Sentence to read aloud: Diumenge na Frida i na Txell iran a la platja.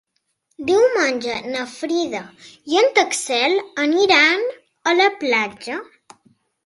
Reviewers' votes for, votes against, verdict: 0, 2, rejected